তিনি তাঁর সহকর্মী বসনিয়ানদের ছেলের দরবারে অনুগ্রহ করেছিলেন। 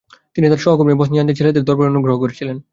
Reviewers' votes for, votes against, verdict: 2, 0, accepted